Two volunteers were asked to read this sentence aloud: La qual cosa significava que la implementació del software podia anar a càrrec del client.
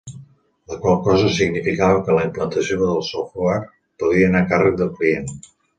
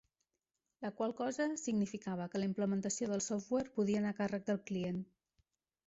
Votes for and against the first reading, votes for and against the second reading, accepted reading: 1, 2, 2, 0, second